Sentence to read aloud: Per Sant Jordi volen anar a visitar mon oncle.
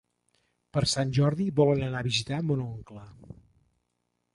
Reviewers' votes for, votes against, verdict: 3, 0, accepted